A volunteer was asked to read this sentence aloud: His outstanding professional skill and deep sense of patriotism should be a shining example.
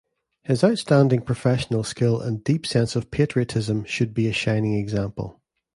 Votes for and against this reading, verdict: 2, 0, accepted